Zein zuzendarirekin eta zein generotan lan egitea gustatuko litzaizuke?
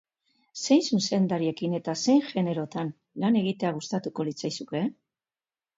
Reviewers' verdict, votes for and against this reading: accepted, 2, 0